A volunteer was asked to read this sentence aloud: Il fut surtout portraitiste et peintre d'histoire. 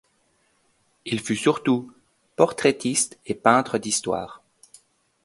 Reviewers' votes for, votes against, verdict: 2, 0, accepted